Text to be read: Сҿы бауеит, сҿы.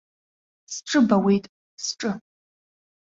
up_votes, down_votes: 2, 1